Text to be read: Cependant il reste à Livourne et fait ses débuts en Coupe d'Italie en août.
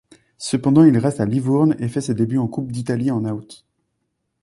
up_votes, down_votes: 2, 0